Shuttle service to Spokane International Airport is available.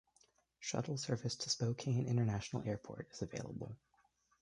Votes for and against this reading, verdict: 1, 2, rejected